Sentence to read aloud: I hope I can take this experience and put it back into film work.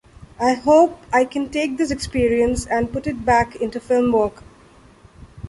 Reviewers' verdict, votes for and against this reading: accepted, 2, 0